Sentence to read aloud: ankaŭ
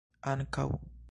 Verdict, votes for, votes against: accepted, 2, 1